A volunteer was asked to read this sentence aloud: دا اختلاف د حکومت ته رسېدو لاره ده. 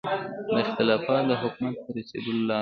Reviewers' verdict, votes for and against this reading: accepted, 2, 0